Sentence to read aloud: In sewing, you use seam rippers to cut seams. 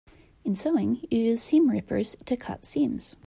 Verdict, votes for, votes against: accepted, 2, 0